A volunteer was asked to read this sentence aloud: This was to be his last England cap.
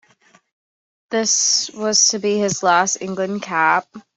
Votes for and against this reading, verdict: 2, 0, accepted